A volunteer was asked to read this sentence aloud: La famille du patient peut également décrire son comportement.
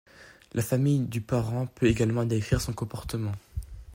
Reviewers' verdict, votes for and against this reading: rejected, 0, 2